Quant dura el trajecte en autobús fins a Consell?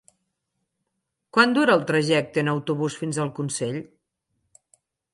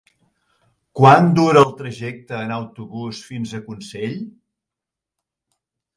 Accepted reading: second